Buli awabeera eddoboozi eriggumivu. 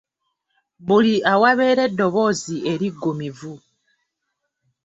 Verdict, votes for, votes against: accepted, 2, 0